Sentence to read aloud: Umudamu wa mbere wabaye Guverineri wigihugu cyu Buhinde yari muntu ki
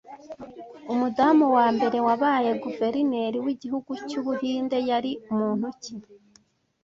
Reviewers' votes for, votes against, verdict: 2, 0, accepted